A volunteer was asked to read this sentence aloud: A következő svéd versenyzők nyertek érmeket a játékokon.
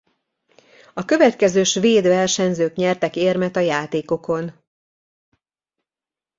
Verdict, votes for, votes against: rejected, 0, 2